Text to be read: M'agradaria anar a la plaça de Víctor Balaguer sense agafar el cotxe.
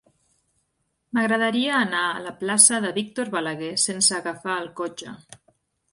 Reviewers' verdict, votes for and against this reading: accepted, 4, 0